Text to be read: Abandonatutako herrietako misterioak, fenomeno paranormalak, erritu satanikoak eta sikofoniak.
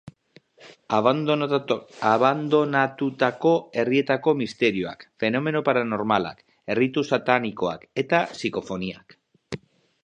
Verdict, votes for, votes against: rejected, 0, 4